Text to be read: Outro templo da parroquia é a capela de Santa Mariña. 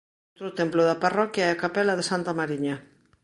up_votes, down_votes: 0, 2